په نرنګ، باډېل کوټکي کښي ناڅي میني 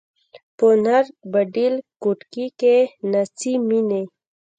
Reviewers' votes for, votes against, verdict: 2, 1, accepted